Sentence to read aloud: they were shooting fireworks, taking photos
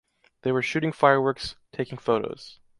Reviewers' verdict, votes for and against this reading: accepted, 2, 0